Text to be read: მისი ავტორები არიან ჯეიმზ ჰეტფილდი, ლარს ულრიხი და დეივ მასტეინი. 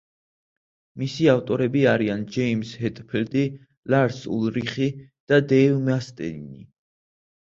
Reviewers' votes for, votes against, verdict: 0, 2, rejected